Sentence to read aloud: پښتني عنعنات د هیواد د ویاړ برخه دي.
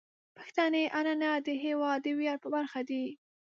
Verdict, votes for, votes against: rejected, 0, 2